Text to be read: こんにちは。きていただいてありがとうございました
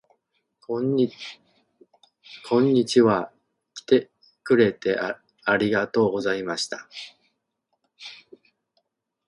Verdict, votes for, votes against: rejected, 0, 2